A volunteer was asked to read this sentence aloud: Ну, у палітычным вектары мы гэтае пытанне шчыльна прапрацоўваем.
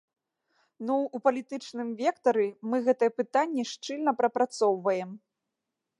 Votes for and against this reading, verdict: 2, 0, accepted